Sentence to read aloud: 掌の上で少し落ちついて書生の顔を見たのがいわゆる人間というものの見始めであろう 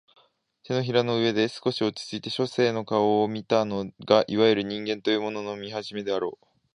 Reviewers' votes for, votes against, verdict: 2, 0, accepted